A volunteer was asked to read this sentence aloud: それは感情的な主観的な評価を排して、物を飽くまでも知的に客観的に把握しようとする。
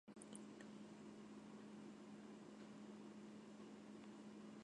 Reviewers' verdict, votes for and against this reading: rejected, 0, 2